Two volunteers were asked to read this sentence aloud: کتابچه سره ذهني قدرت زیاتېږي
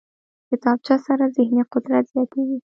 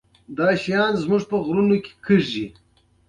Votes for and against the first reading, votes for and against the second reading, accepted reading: 2, 0, 0, 2, first